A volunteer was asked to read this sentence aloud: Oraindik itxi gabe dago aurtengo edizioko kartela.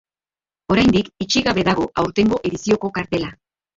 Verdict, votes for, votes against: rejected, 2, 2